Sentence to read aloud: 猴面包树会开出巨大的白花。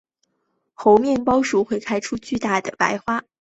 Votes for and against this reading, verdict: 3, 0, accepted